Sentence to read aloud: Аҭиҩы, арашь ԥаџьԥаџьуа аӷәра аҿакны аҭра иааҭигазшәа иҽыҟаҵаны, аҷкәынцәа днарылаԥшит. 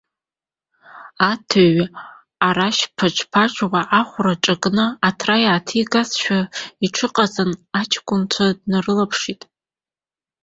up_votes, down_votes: 0, 2